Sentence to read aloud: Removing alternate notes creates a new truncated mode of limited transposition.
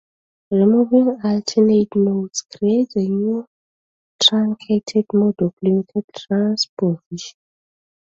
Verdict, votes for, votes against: accepted, 2, 1